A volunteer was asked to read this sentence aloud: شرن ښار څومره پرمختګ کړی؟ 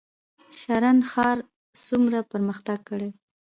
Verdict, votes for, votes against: accepted, 2, 0